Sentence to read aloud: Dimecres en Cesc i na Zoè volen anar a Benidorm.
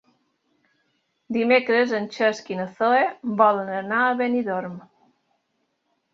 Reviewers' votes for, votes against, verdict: 3, 1, accepted